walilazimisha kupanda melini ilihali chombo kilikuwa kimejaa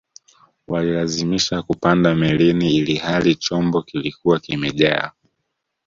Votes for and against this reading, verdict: 2, 0, accepted